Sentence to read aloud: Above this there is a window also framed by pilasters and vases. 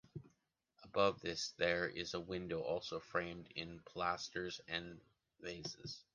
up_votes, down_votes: 1, 2